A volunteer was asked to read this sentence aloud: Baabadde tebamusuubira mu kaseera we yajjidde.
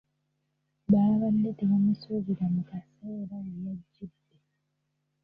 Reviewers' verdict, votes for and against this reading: rejected, 1, 2